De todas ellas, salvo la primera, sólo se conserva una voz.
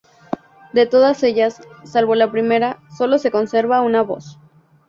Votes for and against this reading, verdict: 0, 2, rejected